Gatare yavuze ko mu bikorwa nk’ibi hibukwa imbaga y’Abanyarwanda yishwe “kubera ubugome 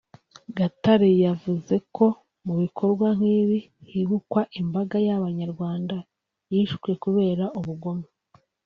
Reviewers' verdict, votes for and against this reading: accepted, 2, 0